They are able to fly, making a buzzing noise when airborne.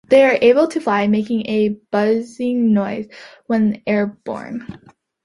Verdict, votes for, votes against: accepted, 2, 0